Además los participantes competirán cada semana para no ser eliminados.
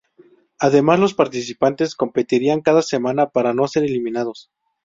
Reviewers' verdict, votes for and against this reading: rejected, 0, 2